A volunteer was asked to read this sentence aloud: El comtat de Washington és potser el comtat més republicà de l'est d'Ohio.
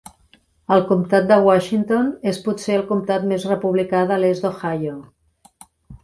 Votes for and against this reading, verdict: 3, 0, accepted